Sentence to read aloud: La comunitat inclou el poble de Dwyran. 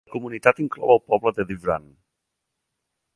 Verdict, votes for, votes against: rejected, 1, 2